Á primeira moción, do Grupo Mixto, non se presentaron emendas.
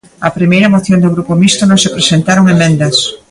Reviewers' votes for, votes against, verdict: 2, 1, accepted